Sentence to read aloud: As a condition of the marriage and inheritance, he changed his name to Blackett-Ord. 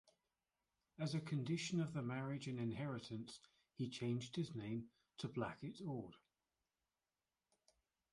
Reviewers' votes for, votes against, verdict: 2, 1, accepted